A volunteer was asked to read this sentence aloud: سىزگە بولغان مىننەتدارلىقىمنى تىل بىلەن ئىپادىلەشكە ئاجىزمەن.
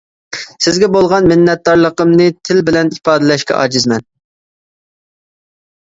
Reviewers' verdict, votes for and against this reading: accepted, 2, 0